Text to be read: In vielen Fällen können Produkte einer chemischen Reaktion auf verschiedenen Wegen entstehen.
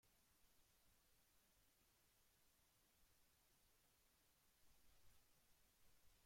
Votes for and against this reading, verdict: 0, 2, rejected